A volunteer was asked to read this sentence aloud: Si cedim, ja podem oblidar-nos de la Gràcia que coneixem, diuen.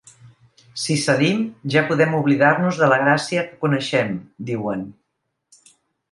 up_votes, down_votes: 3, 0